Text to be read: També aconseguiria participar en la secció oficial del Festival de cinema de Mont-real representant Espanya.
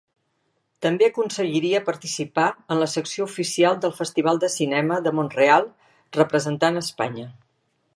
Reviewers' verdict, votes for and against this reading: accepted, 3, 0